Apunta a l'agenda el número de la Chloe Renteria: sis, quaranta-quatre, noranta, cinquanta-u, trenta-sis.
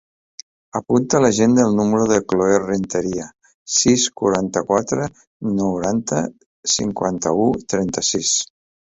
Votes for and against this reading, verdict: 1, 2, rejected